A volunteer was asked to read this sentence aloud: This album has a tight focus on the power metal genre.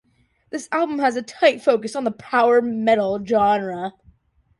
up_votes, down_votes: 2, 0